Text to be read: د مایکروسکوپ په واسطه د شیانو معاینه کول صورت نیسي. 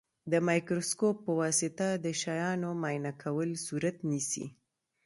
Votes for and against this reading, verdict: 2, 0, accepted